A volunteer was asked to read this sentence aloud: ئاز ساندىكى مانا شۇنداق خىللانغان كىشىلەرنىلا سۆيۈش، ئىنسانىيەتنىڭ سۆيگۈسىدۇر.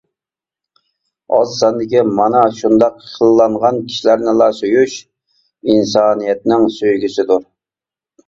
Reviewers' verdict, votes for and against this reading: accepted, 2, 0